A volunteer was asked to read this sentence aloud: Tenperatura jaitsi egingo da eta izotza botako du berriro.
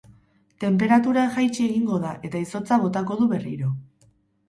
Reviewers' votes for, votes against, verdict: 2, 0, accepted